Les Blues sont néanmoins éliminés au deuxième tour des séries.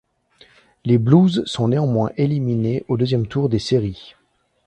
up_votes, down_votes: 2, 0